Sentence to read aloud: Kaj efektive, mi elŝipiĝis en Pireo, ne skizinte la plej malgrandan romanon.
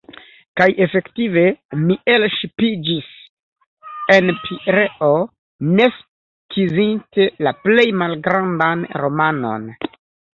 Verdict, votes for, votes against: rejected, 0, 2